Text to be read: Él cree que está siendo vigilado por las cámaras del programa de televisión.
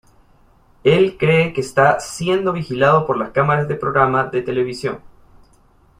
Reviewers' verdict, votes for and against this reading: rejected, 1, 2